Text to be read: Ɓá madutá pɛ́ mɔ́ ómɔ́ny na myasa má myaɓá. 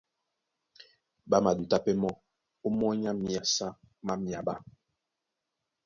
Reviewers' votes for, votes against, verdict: 2, 0, accepted